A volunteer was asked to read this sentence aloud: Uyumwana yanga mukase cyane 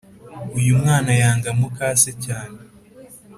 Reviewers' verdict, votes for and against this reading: accepted, 3, 0